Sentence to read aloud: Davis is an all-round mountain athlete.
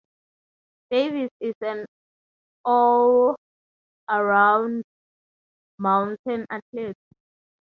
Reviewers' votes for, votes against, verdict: 0, 3, rejected